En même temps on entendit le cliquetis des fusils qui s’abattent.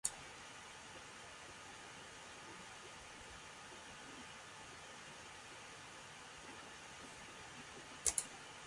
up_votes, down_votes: 0, 2